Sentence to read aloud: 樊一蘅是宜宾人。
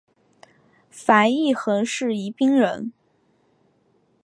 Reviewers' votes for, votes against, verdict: 2, 0, accepted